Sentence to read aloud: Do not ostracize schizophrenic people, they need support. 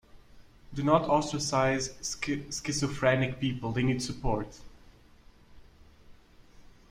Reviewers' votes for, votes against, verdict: 0, 2, rejected